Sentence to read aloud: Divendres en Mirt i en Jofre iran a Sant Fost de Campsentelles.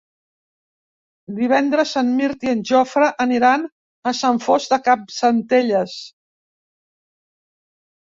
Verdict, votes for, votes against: rejected, 0, 2